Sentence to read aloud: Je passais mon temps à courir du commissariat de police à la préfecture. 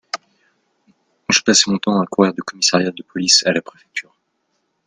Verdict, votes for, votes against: accepted, 2, 0